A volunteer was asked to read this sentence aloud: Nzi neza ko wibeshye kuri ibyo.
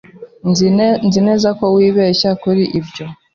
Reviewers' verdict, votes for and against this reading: rejected, 1, 2